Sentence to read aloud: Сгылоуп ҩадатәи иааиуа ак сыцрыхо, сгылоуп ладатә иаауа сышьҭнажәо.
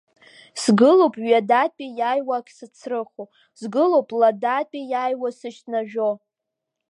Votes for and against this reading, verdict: 1, 2, rejected